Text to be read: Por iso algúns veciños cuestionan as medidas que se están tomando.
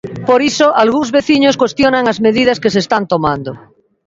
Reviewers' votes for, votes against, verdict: 2, 0, accepted